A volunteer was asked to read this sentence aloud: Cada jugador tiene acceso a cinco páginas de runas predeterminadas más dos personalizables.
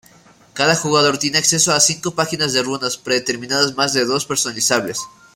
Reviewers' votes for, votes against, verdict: 2, 0, accepted